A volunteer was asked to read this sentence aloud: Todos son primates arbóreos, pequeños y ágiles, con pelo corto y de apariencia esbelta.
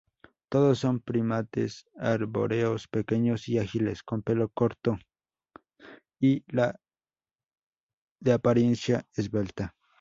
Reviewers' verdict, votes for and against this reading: accepted, 2, 0